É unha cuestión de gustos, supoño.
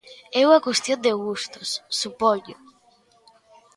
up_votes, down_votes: 2, 0